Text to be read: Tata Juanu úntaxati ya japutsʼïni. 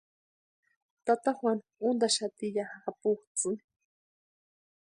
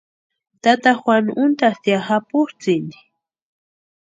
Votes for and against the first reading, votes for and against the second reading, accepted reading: 2, 0, 0, 2, first